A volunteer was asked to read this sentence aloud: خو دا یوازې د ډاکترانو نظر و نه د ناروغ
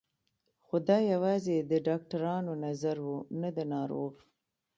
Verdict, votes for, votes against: rejected, 0, 2